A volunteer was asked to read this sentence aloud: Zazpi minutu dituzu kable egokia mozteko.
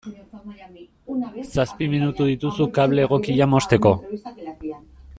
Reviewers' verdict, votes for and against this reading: rejected, 0, 2